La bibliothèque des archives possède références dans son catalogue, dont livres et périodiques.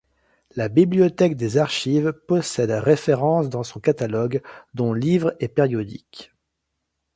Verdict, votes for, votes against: accepted, 2, 0